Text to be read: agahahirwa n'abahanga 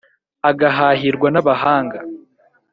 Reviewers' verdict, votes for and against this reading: accepted, 2, 0